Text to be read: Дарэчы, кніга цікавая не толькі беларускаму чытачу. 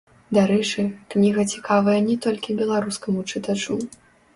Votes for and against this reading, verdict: 2, 1, accepted